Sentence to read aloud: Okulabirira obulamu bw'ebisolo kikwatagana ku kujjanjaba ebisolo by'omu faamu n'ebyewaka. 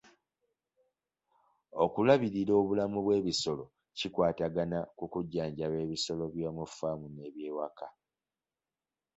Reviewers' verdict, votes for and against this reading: accepted, 2, 0